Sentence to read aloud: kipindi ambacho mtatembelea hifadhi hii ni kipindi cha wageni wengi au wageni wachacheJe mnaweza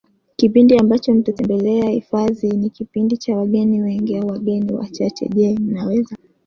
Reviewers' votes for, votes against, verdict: 2, 0, accepted